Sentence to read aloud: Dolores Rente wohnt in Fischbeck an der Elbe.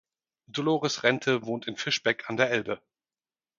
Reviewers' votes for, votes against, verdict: 4, 0, accepted